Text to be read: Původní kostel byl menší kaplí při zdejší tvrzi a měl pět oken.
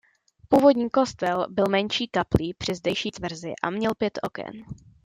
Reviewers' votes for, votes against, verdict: 2, 0, accepted